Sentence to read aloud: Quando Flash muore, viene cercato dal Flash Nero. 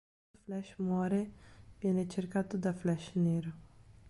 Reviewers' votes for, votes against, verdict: 0, 3, rejected